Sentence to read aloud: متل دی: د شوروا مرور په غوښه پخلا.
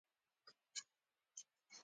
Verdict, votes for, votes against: accepted, 2, 1